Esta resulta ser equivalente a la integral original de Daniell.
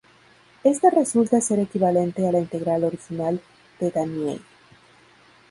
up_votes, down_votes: 2, 0